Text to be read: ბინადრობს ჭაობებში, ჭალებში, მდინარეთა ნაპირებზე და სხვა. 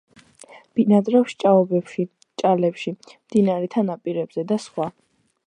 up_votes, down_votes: 2, 0